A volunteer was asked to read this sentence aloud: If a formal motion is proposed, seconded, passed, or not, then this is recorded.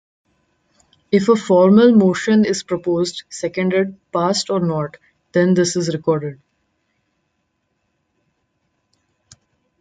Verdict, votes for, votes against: rejected, 0, 2